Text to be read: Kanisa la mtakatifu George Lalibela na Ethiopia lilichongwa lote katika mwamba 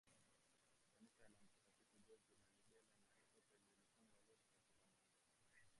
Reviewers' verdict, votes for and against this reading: rejected, 0, 3